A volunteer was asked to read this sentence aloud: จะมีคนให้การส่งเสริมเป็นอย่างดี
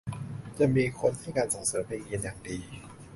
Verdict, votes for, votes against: rejected, 0, 5